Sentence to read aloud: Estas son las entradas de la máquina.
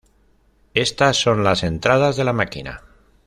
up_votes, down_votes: 2, 0